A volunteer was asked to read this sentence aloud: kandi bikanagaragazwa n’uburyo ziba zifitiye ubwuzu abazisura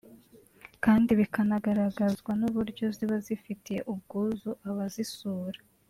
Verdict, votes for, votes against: accepted, 2, 1